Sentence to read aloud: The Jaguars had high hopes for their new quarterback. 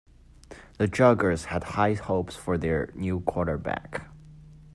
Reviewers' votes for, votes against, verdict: 2, 3, rejected